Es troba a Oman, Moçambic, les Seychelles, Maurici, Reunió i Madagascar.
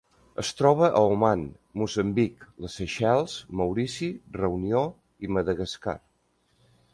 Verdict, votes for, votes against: accepted, 2, 0